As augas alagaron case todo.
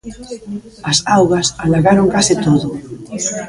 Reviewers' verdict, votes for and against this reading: rejected, 1, 2